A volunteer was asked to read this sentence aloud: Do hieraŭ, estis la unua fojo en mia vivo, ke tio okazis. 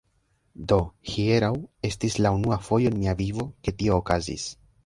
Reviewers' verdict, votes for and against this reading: rejected, 0, 2